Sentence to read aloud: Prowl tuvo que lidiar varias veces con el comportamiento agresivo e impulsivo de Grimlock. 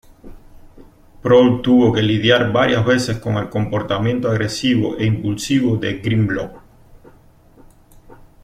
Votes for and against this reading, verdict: 2, 0, accepted